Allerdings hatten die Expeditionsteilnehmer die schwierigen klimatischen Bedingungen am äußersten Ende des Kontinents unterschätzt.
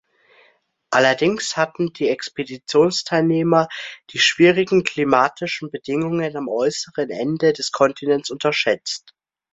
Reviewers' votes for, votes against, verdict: 0, 2, rejected